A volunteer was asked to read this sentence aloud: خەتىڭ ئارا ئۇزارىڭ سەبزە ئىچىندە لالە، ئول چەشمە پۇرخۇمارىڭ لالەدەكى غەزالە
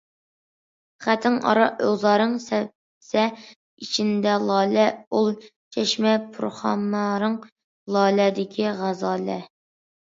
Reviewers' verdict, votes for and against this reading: rejected, 0, 2